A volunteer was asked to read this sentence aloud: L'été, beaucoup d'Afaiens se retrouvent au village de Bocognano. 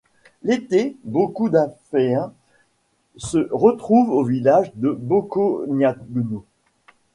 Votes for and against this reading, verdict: 2, 0, accepted